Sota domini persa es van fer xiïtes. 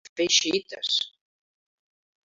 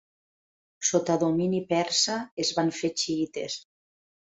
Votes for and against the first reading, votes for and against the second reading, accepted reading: 0, 2, 2, 0, second